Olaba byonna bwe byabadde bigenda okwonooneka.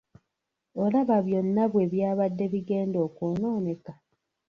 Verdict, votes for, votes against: rejected, 1, 2